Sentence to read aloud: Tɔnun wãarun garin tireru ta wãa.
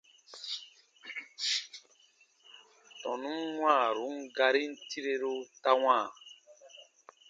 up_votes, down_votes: 2, 0